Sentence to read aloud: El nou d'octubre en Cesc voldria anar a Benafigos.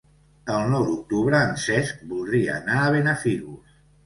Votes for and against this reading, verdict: 2, 0, accepted